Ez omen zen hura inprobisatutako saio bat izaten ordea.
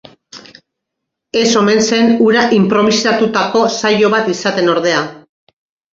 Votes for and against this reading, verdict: 2, 0, accepted